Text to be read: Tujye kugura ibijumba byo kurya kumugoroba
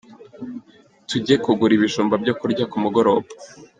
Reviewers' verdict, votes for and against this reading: accepted, 2, 0